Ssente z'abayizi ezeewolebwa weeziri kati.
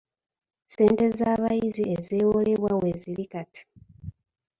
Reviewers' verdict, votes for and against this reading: accepted, 2, 0